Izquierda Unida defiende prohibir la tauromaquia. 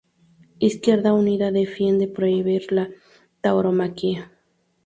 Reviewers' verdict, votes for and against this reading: accepted, 2, 0